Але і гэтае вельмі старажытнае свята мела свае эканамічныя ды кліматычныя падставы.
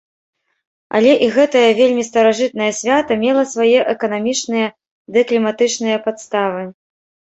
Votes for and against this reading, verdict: 0, 2, rejected